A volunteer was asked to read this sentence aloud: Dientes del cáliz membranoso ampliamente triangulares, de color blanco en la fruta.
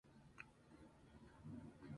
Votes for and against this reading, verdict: 0, 2, rejected